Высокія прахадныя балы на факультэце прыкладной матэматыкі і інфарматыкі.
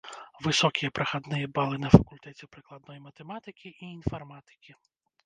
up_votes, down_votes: 1, 2